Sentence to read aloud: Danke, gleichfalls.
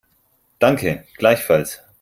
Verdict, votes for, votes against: accepted, 4, 0